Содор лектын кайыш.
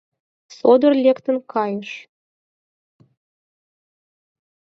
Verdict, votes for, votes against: accepted, 4, 2